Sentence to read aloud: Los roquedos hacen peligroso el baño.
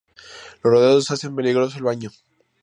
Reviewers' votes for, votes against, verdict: 0, 2, rejected